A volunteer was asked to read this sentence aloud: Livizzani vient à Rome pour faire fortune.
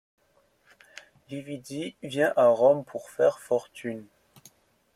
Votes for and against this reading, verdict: 0, 2, rejected